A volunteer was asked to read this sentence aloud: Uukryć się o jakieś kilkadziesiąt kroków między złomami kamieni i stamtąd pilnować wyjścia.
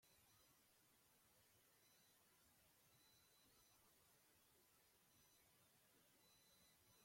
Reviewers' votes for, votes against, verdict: 0, 2, rejected